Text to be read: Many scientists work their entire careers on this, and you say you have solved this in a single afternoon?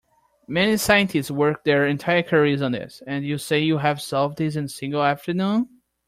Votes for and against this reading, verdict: 0, 2, rejected